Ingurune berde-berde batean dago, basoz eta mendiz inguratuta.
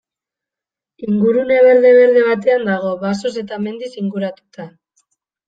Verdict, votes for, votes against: accepted, 2, 0